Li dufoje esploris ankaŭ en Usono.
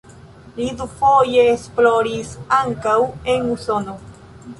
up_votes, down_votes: 3, 0